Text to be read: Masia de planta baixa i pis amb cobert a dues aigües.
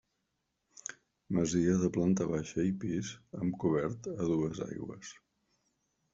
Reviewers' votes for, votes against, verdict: 1, 2, rejected